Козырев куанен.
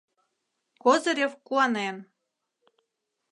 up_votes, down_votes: 2, 0